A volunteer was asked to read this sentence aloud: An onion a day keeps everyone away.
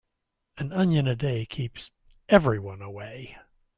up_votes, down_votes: 2, 0